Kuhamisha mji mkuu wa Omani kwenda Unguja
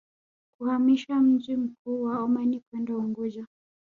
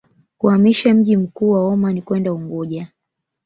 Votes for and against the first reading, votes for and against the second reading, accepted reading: 1, 2, 2, 1, second